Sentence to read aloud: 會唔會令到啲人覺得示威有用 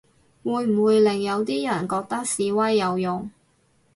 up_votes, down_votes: 0, 2